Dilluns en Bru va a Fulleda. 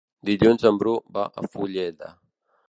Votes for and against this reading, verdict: 4, 0, accepted